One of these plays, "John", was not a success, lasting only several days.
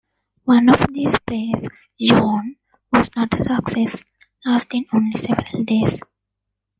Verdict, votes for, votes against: accepted, 2, 1